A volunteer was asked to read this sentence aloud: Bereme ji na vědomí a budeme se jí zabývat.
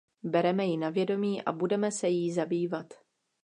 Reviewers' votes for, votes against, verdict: 2, 0, accepted